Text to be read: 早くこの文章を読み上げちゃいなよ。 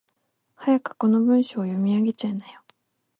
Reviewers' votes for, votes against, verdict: 4, 0, accepted